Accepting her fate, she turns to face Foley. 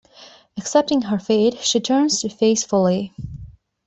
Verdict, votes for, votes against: accepted, 2, 0